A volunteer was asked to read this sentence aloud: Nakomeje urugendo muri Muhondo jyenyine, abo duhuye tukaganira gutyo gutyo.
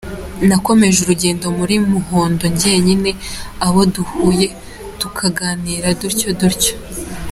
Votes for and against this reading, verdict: 1, 2, rejected